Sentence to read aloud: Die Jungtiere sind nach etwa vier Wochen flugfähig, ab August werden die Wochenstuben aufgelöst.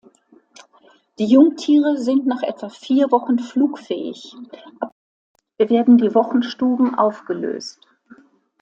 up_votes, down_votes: 0, 2